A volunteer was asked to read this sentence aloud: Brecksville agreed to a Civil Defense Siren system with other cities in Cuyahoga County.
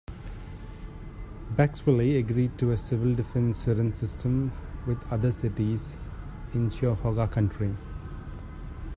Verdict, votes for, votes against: accepted, 2, 1